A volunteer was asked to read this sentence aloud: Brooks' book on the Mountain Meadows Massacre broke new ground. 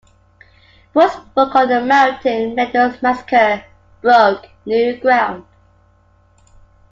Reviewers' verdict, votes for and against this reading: rejected, 1, 2